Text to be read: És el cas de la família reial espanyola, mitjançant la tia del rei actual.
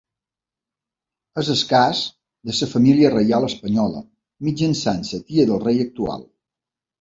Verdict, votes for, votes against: rejected, 0, 2